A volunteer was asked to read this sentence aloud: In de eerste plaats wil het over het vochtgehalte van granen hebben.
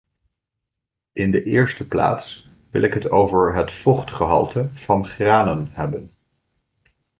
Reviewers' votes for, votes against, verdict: 0, 2, rejected